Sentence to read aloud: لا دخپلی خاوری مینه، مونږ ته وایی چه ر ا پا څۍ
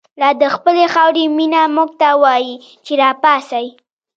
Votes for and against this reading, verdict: 1, 2, rejected